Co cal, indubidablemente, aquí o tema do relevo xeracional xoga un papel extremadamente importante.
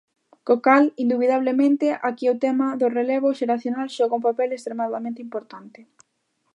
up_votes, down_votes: 2, 0